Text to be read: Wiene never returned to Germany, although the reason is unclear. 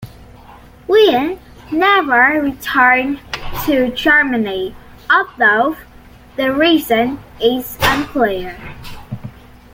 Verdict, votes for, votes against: accepted, 2, 1